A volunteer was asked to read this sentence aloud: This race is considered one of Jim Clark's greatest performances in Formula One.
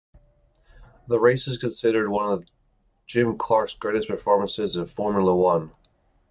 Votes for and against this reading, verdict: 1, 2, rejected